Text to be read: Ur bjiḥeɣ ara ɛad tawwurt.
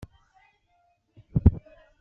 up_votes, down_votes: 1, 3